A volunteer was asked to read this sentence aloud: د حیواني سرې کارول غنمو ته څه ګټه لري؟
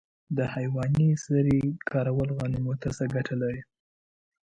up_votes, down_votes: 2, 0